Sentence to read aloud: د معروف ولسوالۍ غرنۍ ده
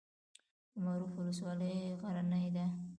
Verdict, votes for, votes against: accepted, 2, 0